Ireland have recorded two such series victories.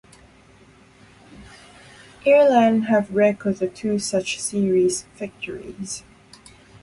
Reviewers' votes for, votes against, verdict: 0, 2, rejected